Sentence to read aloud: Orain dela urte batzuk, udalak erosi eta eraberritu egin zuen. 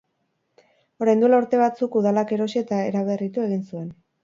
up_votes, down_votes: 2, 0